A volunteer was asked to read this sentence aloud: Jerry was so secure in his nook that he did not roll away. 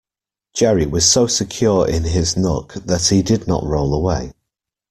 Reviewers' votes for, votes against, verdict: 2, 0, accepted